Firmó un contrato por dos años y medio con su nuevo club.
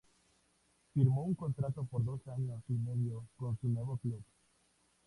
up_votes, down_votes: 2, 0